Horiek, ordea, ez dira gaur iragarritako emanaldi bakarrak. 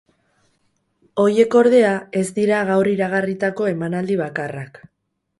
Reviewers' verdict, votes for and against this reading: rejected, 2, 2